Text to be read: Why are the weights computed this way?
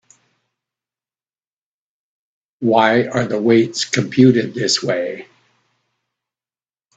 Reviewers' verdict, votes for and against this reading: accepted, 2, 0